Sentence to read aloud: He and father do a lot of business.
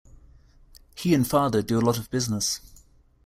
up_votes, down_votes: 2, 0